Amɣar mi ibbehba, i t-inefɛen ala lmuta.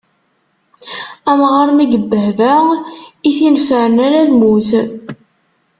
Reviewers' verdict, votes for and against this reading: rejected, 0, 2